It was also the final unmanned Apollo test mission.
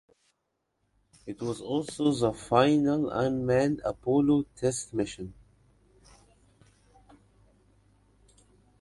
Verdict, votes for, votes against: rejected, 1, 2